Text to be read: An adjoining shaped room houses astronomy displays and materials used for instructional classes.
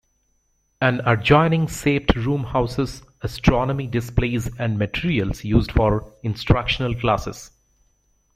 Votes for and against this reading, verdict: 0, 2, rejected